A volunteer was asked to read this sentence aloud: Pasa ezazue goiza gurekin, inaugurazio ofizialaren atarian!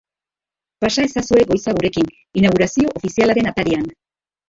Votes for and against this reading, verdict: 0, 3, rejected